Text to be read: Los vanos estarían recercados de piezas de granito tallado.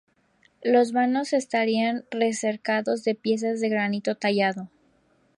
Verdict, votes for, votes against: rejected, 2, 2